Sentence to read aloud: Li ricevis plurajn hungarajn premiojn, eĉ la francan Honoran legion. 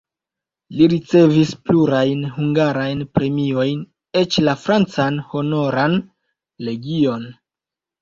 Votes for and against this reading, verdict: 2, 0, accepted